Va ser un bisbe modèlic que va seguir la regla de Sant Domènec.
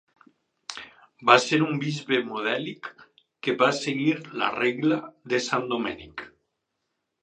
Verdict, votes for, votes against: accepted, 4, 0